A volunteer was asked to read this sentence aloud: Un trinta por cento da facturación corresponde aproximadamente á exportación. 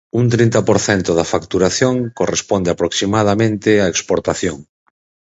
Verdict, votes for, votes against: accepted, 4, 0